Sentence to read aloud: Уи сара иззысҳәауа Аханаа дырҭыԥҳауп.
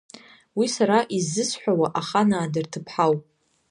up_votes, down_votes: 0, 2